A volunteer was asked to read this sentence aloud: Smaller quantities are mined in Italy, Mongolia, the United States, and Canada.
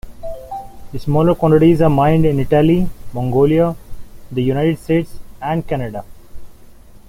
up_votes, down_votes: 2, 1